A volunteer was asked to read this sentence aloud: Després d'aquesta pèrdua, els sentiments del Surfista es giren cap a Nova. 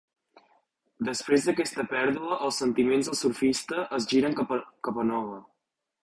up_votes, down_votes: 1, 2